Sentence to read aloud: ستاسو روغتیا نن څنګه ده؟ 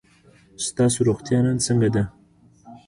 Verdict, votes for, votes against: accepted, 2, 0